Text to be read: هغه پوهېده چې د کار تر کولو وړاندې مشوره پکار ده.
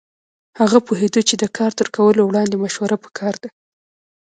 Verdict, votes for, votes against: rejected, 0, 2